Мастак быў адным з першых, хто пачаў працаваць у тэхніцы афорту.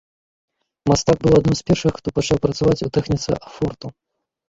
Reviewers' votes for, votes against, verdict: 2, 0, accepted